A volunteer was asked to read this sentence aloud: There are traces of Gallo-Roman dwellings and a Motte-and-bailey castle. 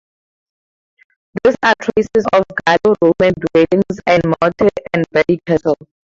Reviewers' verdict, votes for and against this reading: rejected, 0, 2